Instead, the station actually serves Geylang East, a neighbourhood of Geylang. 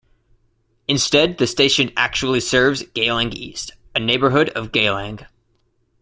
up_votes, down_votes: 2, 0